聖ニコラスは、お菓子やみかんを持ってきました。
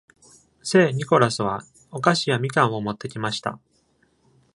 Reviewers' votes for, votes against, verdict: 2, 0, accepted